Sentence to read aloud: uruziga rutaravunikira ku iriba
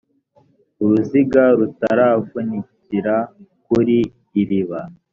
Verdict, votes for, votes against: rejected, 1, 2